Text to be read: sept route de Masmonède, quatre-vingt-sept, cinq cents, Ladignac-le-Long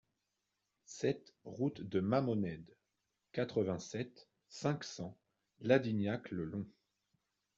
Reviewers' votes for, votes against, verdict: 2, 0, accepted